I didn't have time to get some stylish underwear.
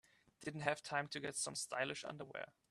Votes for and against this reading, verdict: 3, 0, accepted